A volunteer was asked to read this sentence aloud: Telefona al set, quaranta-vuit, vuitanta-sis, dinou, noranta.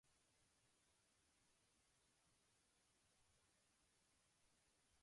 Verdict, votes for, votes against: rejected, 0, 2